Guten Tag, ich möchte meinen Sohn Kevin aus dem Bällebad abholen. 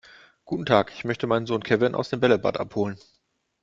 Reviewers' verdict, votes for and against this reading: accepted, 2, 0